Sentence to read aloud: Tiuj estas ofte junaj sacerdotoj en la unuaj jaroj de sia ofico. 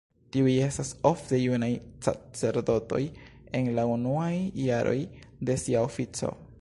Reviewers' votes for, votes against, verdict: 0, 3, rejected